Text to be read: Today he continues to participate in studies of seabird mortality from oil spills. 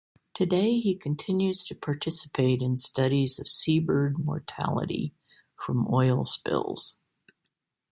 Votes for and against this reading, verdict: 2, 0, accepted